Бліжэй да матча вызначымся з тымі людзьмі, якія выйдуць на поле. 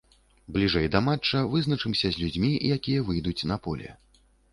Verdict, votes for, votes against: rejected, 0, 2